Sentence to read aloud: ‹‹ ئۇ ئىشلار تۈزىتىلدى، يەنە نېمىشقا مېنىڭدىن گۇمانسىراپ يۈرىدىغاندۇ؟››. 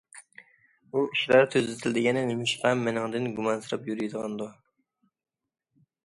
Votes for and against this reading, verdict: 1, 2, rejected